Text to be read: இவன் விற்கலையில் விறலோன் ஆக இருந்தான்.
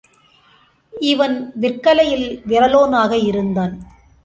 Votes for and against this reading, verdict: 2, 0, accepted